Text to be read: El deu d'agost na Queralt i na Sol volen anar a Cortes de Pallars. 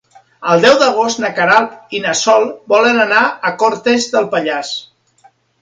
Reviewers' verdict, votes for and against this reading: rejected, 2, 3